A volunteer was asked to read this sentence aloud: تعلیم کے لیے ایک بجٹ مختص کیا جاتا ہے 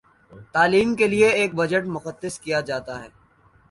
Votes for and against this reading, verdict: 1, 2, rejected